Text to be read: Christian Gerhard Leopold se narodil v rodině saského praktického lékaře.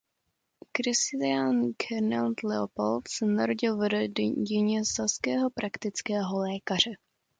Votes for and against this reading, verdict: 0, 2, rejected